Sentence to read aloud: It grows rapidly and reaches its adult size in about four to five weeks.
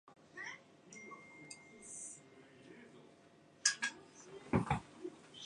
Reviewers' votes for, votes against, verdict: 0, 4, rejected